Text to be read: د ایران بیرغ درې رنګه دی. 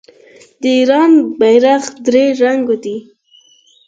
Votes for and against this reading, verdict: 4, 0, accepted